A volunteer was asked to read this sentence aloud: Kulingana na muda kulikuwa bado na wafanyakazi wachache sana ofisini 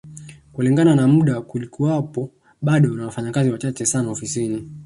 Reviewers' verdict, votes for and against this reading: rejected, 0, 2